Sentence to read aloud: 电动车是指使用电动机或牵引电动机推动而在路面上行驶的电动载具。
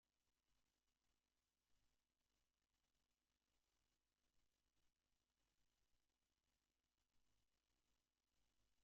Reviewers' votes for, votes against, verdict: 0, 2, rejected